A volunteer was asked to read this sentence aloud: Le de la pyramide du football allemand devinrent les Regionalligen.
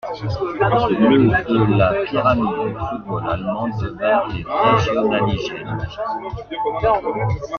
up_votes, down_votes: 0, 2